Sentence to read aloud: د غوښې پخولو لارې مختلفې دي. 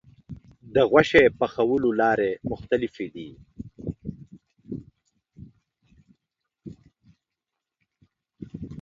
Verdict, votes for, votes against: accepted, 2, 0